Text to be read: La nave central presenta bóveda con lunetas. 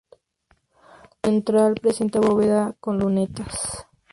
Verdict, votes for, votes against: rejected, 0, 2